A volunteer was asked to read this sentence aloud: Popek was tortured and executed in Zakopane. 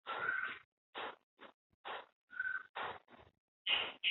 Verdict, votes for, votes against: rejected, 0, 2